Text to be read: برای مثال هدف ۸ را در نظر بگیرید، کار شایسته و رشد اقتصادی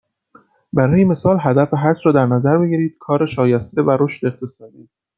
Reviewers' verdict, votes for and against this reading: rejected, 0, 2